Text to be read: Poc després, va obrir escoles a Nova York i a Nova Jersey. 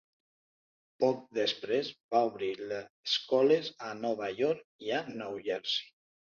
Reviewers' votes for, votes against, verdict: 0, 2, rejected